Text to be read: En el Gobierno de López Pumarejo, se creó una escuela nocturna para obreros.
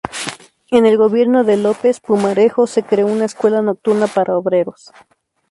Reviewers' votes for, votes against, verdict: 0, 2, rejected